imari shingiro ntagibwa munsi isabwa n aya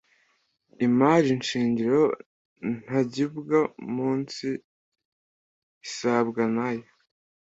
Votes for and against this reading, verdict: 0, 2, rejected